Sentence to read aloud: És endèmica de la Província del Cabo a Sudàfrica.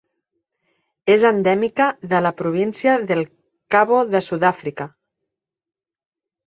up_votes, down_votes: 0, 2